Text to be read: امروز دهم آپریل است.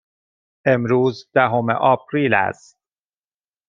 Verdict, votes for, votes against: accepted, 2, 0